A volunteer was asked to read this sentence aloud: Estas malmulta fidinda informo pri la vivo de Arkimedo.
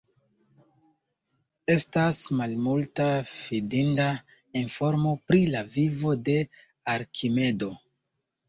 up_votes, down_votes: 1, 2